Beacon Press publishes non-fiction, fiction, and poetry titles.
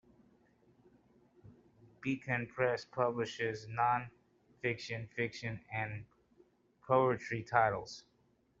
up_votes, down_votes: 2, 0